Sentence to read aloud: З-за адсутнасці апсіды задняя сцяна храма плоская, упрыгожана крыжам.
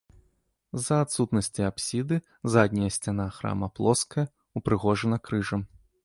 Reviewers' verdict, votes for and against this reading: accepted, 2, 0